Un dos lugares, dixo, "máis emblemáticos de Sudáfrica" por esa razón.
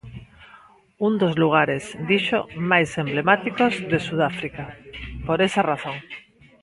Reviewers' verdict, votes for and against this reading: accepted, 2, 0